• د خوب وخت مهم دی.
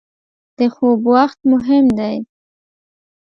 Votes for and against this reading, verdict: 2, 0, accepted